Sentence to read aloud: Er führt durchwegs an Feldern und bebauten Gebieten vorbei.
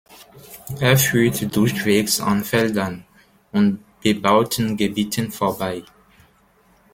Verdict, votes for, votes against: accepted, 2, 0